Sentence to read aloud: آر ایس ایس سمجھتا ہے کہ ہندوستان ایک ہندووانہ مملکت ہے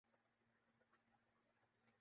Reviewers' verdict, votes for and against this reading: rejected, 0, 2